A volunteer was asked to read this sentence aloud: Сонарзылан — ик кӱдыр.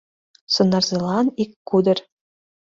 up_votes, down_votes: 1, 3